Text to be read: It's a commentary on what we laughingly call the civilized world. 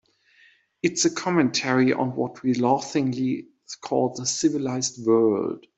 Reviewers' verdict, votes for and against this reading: accepted, 2, 0